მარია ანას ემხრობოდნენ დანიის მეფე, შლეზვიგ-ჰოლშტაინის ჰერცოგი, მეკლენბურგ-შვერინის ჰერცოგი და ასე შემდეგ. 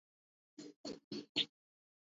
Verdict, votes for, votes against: rejected, 0, 2